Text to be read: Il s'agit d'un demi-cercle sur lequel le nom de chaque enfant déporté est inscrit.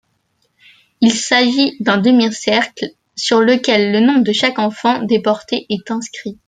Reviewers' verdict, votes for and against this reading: accepted, 2, 0